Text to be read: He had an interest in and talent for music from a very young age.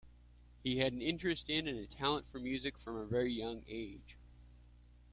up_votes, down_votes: 2, 1